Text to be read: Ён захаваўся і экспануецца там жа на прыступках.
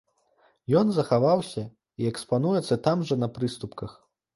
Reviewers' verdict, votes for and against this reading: accepted, 2, 0